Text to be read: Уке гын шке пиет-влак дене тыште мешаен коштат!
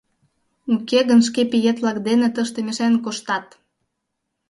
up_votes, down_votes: 2, 0